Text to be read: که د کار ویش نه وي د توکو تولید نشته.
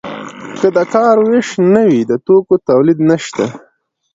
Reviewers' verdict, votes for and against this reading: accepted, 2, 0